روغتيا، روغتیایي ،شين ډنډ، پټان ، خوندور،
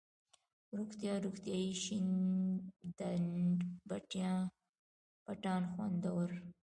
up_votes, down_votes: 1, 2